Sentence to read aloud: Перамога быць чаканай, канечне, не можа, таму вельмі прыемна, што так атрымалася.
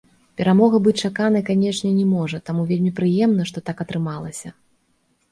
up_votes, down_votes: 2, 0